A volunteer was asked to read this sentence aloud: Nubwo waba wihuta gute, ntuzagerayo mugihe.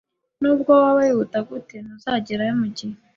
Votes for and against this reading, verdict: 2, 0, accepted